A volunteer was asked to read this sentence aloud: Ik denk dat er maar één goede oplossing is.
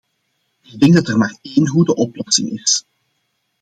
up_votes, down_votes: 2, 0